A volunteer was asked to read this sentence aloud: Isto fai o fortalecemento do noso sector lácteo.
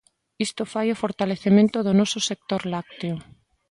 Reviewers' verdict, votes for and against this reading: accepted, 2, 0